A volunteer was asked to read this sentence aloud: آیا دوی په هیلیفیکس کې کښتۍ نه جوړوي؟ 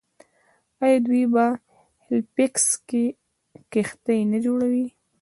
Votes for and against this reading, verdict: 2, 1, accepted